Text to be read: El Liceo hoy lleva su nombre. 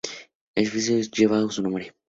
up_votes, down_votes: 0, 4